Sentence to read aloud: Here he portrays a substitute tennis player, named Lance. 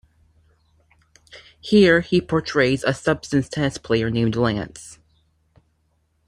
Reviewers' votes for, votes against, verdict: 1, 2, rejected